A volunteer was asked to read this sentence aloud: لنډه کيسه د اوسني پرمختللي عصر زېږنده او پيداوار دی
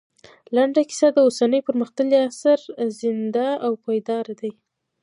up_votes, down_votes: 2, 1